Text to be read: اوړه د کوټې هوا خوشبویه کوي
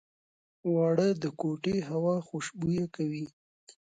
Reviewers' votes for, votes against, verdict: 2, 0, accepted